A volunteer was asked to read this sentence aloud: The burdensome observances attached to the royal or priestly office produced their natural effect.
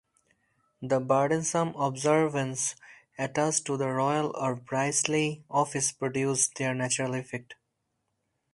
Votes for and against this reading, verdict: 2, 0, accepted